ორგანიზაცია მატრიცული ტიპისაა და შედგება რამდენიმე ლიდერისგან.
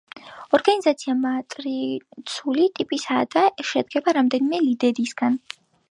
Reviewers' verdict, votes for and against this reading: accepted, 3, 0